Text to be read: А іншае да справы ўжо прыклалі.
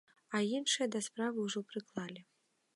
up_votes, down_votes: 2, 0